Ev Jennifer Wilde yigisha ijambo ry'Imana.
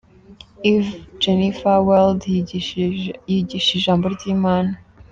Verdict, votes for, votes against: rejected, 0, 2